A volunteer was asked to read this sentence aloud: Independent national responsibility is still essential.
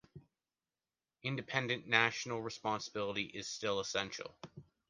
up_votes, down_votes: 2, 0